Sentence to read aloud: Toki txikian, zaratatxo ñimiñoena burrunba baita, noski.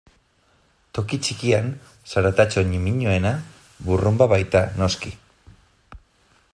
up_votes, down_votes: 2, 1